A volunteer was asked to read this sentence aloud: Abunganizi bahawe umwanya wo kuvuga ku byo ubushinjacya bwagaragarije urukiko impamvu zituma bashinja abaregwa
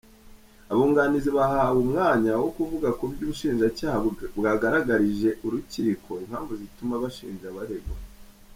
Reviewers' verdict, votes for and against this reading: rejected, 0, 2